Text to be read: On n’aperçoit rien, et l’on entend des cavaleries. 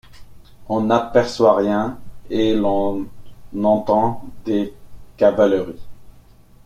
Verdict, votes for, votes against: rejected, 1, 2